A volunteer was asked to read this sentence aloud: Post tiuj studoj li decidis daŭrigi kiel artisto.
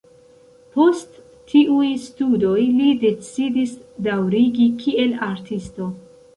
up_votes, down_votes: 2, 0